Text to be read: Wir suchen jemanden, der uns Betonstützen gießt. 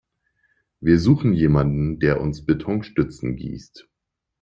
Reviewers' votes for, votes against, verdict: 2, 0, accepted